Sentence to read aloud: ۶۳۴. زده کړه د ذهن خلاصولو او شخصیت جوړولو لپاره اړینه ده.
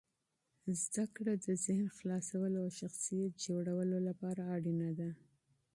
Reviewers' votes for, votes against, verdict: 0, 2, rejected